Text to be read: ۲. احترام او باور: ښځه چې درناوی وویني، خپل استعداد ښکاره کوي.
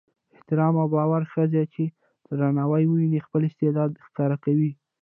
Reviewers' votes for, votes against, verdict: 0, 2, rejected